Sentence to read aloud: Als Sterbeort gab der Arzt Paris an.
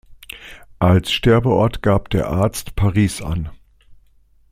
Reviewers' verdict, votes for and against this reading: accepted, 2, 0